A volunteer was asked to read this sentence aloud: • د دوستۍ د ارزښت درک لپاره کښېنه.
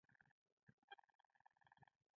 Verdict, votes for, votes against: rejected, 1, 2